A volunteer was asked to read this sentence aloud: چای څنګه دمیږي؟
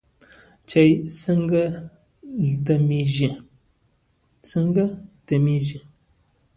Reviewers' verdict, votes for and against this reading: rejected, 1, 2